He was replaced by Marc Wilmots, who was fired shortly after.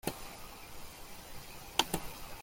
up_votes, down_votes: 0, 2